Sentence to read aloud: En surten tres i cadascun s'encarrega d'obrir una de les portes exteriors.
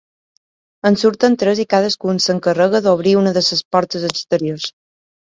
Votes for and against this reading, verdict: 0, 2, rejected